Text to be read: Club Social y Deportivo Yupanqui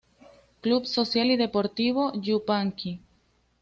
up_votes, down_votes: 2, 0